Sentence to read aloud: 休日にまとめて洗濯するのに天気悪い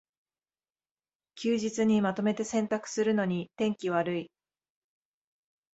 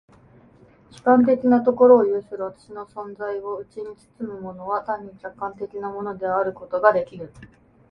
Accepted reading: first